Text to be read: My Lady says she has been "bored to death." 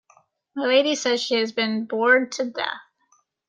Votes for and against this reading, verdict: 2, 0, accepted